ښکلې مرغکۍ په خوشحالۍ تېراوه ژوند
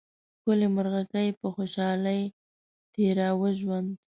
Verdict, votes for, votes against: accepted, 2, 1